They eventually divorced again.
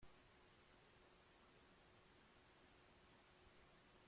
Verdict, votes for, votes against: rejected, 1, 2